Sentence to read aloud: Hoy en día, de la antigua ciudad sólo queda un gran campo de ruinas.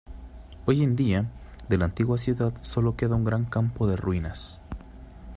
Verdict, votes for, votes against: accepted, 2, 0